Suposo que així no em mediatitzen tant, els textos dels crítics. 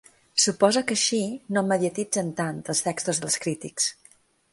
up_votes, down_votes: 2, 0